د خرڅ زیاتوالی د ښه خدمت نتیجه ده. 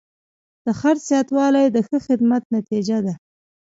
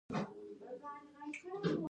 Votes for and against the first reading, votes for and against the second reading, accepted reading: 1, 2, 2, 1, second